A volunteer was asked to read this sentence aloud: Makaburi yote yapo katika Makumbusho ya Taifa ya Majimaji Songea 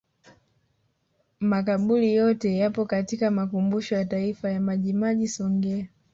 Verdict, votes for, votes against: rejected, 1, 2